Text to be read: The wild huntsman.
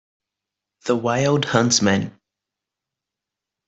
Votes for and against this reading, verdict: 2, 0, accepted